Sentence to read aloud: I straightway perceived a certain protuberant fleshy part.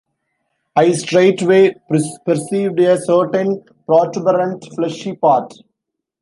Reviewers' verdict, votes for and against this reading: rejected, 0, 2